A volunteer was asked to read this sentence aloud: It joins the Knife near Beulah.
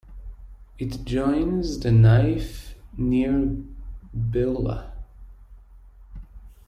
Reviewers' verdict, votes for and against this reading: rejected, 0, 2